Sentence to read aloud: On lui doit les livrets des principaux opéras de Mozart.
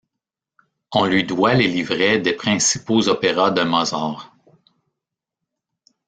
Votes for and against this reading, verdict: 1, 2, rejected